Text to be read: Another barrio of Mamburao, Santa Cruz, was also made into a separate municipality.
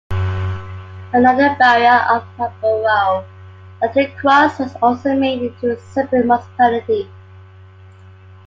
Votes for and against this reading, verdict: 0, 2, rejected